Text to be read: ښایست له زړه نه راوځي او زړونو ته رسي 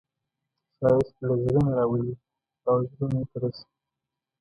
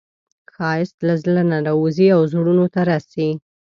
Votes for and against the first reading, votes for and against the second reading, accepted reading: 1, 2, 2, 0, second